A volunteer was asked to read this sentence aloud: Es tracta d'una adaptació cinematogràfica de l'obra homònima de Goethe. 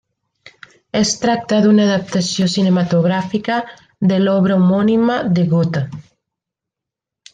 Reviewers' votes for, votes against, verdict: 1, 2, rejected